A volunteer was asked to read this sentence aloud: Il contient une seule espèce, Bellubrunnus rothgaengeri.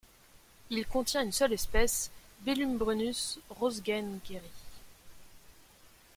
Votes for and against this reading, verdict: 2, 0, accepted